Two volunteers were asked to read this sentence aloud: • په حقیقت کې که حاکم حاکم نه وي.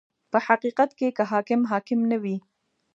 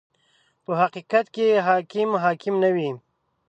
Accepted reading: first